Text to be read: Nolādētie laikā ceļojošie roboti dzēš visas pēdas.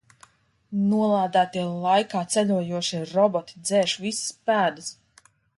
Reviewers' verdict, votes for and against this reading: accepted, 2, 0